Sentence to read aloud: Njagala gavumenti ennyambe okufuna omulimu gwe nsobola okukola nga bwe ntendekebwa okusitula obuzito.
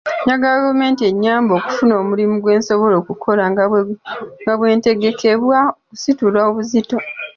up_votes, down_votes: 0, 2